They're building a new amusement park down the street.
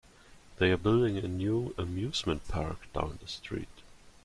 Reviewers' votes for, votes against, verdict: 1, 2, rejected